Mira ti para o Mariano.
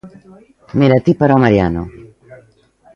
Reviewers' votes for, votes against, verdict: 1, 2, rejected